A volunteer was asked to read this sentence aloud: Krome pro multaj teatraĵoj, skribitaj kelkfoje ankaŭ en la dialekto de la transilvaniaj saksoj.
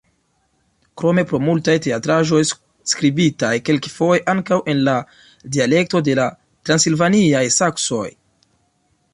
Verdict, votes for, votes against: rejected, 1, 2